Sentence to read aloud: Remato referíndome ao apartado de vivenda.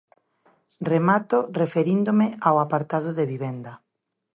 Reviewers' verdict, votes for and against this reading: accepted, 2, 0